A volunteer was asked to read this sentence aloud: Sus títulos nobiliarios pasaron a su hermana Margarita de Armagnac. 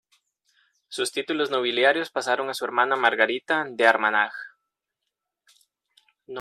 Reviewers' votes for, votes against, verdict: 1, 2, rejected